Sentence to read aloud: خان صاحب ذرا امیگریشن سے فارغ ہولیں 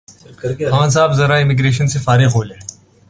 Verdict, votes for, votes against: rejected, 0, 2